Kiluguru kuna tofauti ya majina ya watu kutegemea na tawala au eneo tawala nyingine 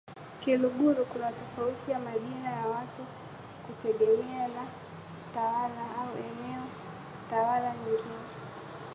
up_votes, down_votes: 2, 1